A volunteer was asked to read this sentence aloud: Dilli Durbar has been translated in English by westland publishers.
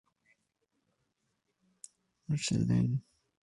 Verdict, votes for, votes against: rejected, 0, 2